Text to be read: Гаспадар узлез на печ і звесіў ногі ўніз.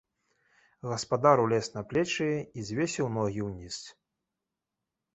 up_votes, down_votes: 1, 2